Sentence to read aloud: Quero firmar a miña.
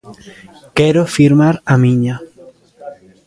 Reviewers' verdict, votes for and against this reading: accepted, 2, 0